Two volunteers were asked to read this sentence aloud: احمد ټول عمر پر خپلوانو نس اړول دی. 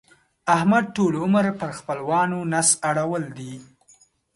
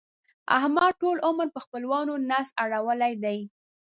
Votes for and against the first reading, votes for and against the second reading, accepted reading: 2, 0, 0, 2, first